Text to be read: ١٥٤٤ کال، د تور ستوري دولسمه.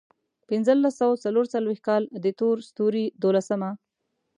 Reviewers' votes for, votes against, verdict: 0, 2, rejected